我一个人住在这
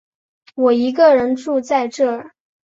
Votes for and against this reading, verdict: 4, 0, accepted